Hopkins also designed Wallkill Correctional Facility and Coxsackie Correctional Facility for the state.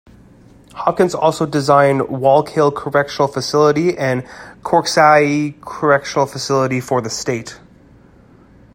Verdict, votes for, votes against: rejected, 1, 2